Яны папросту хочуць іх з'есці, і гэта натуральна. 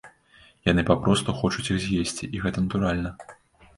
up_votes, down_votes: 2, 0